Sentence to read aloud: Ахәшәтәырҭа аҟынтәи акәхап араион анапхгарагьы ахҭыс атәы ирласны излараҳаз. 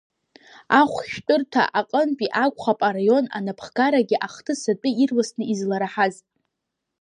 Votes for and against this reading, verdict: 1, 2, rejected